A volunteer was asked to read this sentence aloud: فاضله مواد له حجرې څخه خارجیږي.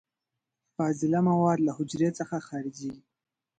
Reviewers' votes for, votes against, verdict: 2, 0, accepted